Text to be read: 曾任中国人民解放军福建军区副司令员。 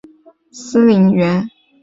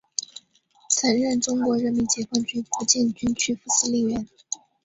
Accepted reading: second